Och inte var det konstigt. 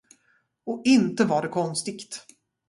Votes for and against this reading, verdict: 0, 2, rejected